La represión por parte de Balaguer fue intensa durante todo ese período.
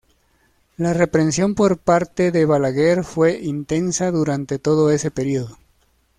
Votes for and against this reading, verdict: 1, 2, rejected